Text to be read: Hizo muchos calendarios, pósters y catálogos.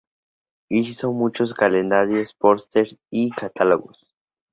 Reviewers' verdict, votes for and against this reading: accepted, 4, 0